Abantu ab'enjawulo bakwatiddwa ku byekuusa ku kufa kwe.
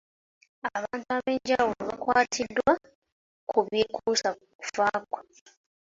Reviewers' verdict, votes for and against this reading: accepted, 2, 0